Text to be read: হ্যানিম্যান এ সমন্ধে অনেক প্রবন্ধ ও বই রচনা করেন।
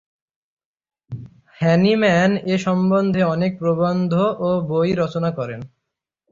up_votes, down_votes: 6, 0